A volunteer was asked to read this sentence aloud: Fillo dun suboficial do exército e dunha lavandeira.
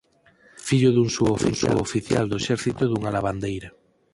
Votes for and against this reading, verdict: 0, 4, rejected